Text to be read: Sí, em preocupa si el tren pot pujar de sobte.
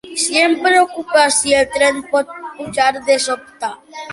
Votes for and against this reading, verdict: 2, 0, accepted